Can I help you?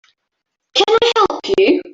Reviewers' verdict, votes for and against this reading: rejected, 0, 2